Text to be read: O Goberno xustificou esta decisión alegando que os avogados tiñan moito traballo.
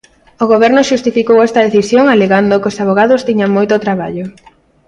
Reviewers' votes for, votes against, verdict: 2, 0, accepted